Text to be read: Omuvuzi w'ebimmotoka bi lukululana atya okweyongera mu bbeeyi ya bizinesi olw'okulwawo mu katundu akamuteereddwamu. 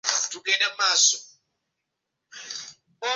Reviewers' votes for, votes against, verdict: 1, 2, rejected